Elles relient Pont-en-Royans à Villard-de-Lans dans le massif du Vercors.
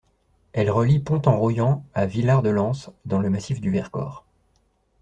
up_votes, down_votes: 2, 0